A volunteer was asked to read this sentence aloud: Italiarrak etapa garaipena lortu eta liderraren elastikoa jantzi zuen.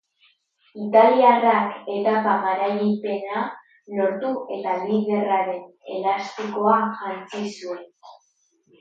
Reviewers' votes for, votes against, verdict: 2, 2, rejected